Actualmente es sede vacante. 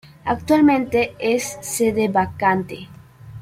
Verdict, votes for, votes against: accepted, 2, 0